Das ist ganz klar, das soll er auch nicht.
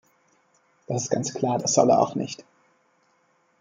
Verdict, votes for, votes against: accepted, 2, 1